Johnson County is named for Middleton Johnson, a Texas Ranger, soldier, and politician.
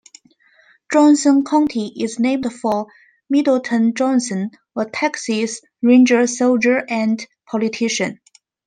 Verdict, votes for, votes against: accepted, 2, 0